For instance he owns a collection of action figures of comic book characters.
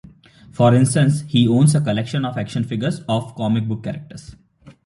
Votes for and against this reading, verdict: 2, 1, accepted